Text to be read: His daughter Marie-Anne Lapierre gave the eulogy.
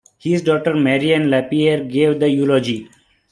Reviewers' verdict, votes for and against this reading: accepted, 2, 0